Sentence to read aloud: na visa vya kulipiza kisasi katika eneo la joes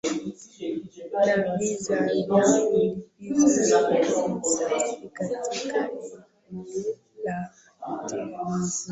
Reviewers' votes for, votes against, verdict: 0, 3, rejected